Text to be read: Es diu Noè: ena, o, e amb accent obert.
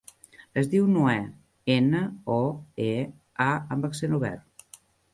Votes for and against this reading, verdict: 1, 2, rejected